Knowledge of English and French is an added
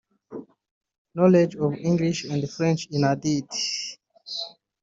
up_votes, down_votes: 0, 2